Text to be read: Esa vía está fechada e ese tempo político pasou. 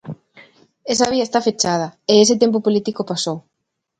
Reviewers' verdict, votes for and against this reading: accepted, 2, 0